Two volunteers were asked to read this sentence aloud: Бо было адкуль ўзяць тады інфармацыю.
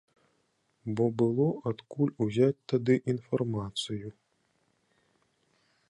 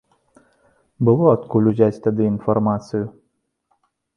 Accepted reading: first